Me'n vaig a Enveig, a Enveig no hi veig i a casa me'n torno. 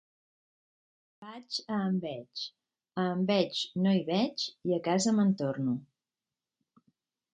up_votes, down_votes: 1, 2